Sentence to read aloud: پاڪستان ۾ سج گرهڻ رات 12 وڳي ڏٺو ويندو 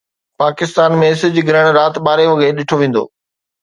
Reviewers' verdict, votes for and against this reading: rejected, 0, 2